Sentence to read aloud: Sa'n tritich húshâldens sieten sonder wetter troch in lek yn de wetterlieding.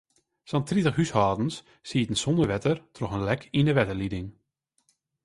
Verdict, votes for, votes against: rejected, 0, 2